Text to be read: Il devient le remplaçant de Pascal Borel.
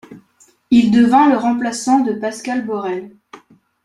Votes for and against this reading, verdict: 0, 2, rejected